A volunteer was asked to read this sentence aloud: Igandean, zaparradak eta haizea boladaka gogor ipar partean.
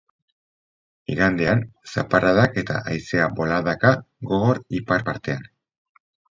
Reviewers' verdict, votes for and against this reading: accepted, 4, 0